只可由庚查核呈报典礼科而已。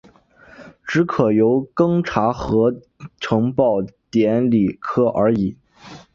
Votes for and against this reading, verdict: 3, 1, accepted